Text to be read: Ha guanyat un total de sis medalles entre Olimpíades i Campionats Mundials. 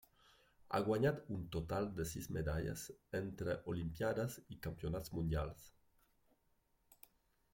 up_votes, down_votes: 1, 2